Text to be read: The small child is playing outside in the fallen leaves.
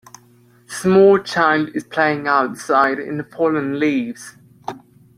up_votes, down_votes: 0, 2